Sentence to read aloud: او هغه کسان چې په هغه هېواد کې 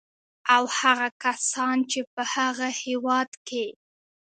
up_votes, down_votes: 2, 0